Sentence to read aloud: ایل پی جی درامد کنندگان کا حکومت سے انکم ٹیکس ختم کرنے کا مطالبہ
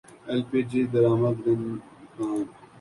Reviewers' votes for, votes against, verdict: 1, 2, rejected